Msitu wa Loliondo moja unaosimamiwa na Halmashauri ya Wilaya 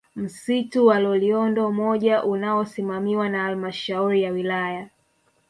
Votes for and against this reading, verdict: 2, 0, accepted